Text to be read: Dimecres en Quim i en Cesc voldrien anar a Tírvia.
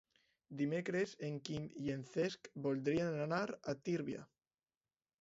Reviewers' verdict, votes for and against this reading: accepted, 2, 0